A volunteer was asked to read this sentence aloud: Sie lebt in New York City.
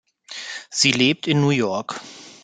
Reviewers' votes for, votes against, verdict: 0, 2, rejected